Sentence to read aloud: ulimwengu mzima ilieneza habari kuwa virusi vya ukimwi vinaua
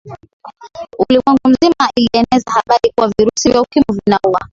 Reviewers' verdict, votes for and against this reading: accepted, 4, 3